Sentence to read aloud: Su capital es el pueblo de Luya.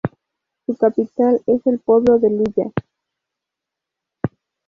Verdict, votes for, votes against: accepted, 2, 0